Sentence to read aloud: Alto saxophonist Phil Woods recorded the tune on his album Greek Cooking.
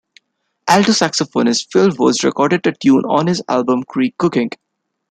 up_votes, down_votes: 1, 2